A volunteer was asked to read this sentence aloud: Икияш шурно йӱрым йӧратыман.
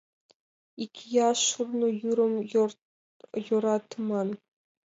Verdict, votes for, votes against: rejected, 2, 6